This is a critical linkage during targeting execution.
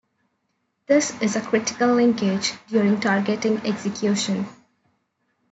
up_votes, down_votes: 2, 0